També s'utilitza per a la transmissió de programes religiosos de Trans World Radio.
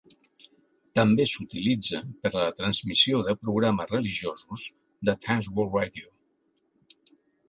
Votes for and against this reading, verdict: 2, 0, accepted